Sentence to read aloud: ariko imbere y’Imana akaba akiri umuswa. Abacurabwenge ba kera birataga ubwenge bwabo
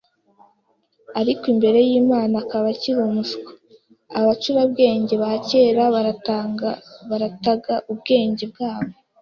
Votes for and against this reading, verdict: 1, 2, rejected